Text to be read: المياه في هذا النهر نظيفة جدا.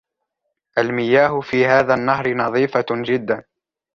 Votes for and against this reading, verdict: 2, 1, accepted